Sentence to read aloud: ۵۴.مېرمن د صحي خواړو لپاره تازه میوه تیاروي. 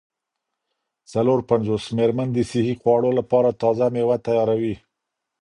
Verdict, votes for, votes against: rejected, 0, 2